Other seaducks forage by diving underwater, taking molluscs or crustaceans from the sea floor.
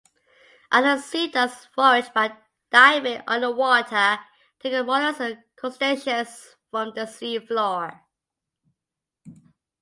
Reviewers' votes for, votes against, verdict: 0, 2, rejected